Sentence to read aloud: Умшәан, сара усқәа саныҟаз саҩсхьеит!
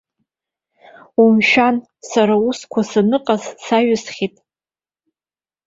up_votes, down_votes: 2, 0